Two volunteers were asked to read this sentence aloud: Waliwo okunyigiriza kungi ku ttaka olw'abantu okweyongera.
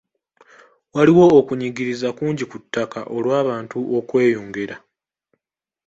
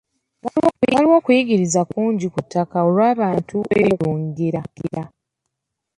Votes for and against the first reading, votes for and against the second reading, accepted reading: 2, 0, 0, 3, first